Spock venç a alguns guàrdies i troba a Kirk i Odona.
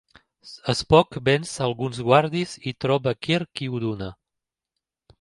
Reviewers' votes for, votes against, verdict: 0, 2, rejected